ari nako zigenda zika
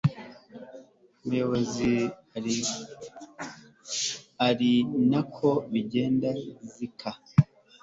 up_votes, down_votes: 1, 3